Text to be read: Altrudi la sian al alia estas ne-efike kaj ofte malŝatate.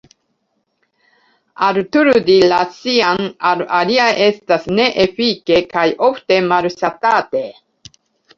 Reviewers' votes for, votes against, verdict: 0, 2, rejected